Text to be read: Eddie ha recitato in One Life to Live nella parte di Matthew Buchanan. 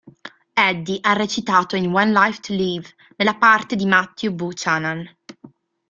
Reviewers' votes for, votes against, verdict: 2, 0, accepted